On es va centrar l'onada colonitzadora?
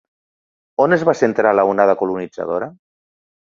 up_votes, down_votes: 0, 2